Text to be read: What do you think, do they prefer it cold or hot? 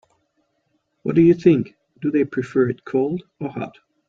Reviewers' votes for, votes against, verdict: 3, 0, accepted